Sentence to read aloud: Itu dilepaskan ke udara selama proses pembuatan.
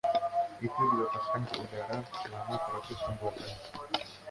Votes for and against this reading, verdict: 1, 2, rejected